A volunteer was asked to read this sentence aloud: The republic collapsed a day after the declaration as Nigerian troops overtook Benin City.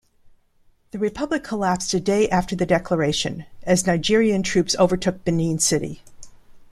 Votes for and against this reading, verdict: 2, 0, accepted